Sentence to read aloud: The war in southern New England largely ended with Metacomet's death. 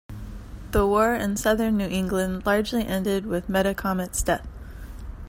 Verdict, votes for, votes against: accepted, 3, 0